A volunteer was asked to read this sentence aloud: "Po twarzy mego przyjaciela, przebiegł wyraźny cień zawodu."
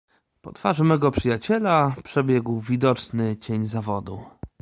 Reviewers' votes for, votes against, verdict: 0, 2, rejected